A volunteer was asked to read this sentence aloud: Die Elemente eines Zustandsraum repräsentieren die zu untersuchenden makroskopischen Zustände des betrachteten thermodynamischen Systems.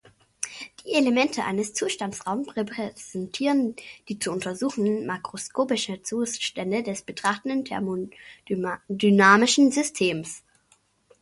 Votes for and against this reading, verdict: 0, 2, rejected